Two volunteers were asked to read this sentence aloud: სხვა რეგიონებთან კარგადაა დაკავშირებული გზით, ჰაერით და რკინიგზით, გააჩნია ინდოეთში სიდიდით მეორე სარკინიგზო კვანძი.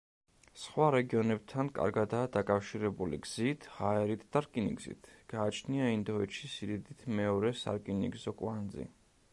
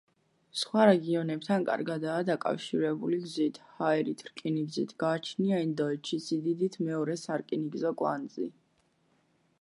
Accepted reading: first